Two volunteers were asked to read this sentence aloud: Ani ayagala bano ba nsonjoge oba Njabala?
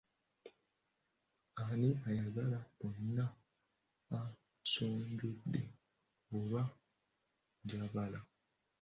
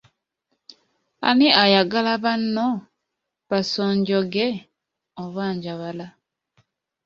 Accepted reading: second